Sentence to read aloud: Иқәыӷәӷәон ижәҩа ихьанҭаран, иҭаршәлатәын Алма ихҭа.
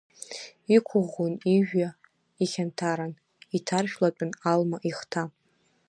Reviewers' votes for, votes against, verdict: 1, 2, rejected